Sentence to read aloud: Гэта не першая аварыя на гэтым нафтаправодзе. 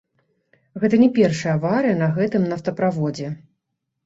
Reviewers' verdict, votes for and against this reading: rejected, 1, 2